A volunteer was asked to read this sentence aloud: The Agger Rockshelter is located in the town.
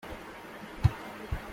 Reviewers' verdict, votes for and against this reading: rejected, 0, 2